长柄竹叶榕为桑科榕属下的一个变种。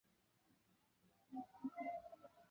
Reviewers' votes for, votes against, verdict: 0, 2, rejected